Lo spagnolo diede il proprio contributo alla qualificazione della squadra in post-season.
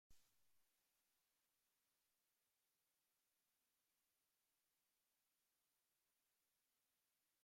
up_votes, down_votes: 0, 3